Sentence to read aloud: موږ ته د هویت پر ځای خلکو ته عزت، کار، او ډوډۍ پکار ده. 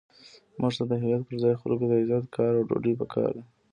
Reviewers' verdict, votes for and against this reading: accepted, 2, 1